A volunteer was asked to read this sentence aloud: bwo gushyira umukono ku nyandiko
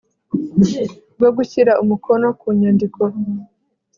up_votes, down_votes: 2, 0